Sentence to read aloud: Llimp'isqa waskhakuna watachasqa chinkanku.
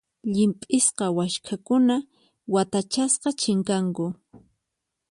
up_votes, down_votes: 4, 0